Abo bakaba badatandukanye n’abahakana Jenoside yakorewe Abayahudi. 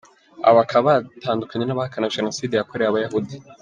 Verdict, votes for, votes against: accepted, 2, 1